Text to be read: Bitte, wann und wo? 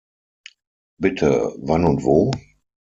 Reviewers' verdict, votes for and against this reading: accepted, 6, 0